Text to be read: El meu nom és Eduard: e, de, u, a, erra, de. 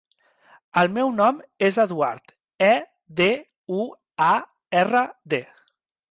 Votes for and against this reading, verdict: 2, 0, accepted